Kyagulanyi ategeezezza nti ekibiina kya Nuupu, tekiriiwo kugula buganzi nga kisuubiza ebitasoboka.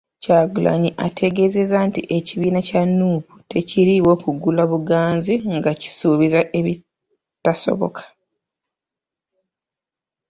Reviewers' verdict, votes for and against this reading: accepted, 3, 0